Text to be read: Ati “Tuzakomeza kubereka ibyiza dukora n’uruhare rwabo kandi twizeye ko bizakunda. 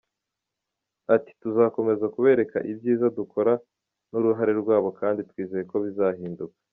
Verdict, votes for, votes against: rejected, 1, 2